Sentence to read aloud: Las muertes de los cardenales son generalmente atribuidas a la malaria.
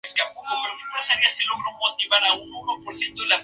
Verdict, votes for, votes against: rejected, 0, 2